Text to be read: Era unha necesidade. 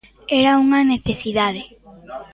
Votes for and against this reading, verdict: 0, 2, rejected